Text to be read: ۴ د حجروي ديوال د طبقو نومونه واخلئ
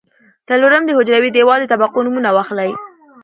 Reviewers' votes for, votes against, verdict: 0, 2, rejected